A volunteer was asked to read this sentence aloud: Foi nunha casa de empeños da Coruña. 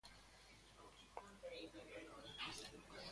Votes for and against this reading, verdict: 0, 2, rejected